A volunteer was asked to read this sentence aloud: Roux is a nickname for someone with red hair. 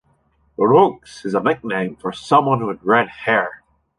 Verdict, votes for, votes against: rejected, 1, 2